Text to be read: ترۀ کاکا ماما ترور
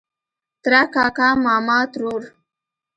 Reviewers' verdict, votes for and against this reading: rejected, 1, 2